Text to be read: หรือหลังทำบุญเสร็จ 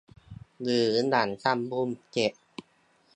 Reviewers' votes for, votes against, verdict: 2, 1, accepted